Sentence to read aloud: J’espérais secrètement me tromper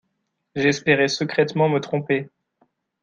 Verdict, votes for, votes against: accepted, 2, 0